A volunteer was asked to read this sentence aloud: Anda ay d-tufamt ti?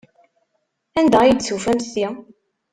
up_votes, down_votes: 1, 2